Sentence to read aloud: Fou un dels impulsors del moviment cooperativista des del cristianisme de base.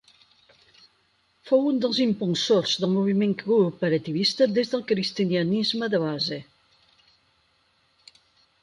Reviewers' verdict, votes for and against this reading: rejected, 0, 4